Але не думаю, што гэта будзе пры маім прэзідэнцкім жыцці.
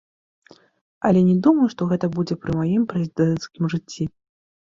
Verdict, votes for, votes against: accepted, 2, 0